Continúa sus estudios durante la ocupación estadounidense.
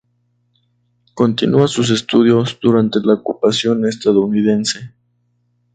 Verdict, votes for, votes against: rejected, 2, 2